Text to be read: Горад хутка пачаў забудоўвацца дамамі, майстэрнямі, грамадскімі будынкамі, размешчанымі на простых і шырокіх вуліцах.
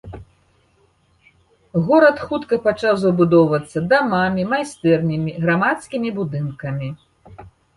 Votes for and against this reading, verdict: 1, 2, rejected